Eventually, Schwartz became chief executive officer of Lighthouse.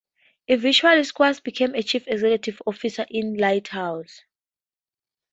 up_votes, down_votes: 4, 2